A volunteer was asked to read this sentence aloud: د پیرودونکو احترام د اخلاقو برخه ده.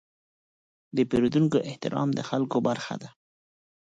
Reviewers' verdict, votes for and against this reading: rejected, 2, 4